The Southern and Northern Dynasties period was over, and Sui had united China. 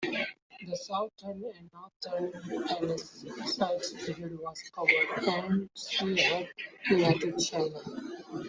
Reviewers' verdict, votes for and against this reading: rejected, 0, 2